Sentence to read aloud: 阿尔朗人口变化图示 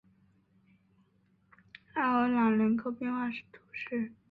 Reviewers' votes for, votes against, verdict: 3, 1, accepted